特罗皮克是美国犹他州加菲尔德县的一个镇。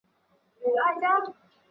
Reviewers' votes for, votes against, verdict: 1, 2, rejected